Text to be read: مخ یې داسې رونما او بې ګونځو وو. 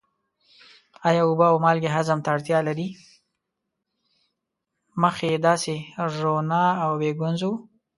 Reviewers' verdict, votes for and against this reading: rejected, 1, 2